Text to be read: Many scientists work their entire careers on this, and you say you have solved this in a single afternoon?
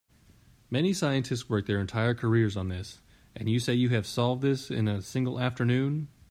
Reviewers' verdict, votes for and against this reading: accepted, 2, 0